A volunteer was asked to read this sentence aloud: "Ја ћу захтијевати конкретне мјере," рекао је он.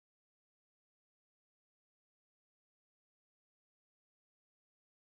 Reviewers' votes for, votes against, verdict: 0, 2, rejected